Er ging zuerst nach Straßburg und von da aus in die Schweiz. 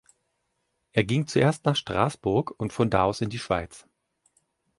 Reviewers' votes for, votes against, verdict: 2, 0, accepted